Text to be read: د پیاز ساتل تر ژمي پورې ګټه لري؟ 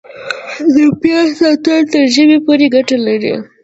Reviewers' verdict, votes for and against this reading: accepted, 2, 0